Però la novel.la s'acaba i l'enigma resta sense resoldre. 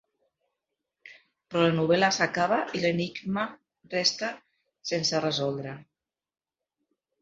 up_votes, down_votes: 2, 0